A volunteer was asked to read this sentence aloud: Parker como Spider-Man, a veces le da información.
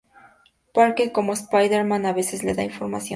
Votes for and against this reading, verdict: 0, 2, rejected